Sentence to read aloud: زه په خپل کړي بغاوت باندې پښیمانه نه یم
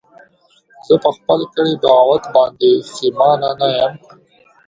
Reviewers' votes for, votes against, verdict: 1, 2, rejected